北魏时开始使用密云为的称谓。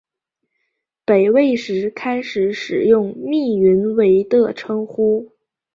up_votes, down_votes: 5, 0